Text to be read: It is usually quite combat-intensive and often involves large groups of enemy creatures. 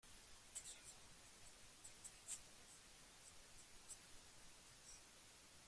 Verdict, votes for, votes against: rejected, 0, 2